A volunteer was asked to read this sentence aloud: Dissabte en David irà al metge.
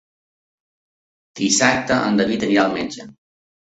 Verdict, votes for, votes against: accepted, 3, 2